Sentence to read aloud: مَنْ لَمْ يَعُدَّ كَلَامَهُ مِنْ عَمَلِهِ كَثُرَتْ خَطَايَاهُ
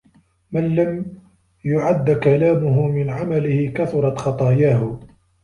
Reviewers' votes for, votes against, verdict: 1, 2, rejected